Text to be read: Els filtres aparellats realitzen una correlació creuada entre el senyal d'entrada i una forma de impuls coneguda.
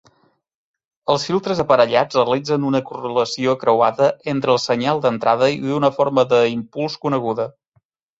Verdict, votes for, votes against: accepted, 2, 0